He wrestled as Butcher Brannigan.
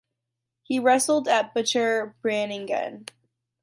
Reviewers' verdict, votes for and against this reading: rejected, 1, 2